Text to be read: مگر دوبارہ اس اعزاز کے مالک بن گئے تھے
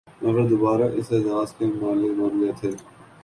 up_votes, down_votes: 2, 0